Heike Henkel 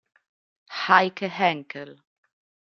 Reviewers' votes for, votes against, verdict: 2, 0, accepted